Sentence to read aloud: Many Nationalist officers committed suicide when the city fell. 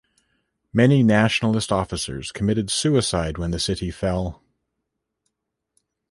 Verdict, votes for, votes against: accepted, 2, 0